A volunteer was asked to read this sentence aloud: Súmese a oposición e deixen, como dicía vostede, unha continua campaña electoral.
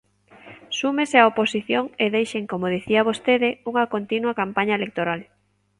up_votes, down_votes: 2, 0